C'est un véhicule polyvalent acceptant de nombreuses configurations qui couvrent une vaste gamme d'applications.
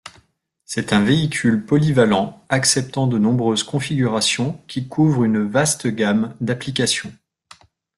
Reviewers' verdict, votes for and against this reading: accepted, 2, 1